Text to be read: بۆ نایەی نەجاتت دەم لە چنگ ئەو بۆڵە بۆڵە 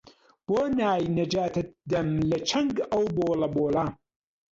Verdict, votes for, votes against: rejected, 1, 2